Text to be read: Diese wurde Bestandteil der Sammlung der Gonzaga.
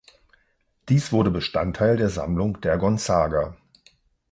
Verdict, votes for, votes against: rejected, 0, 2